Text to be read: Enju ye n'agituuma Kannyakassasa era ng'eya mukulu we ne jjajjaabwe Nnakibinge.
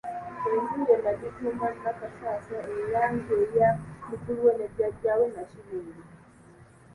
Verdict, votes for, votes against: rejected, 0, 2